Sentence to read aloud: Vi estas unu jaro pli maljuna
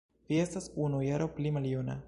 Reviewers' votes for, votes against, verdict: 2, 0, accepted